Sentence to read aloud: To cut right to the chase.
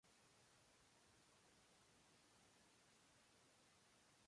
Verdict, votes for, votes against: rejected, 0, 2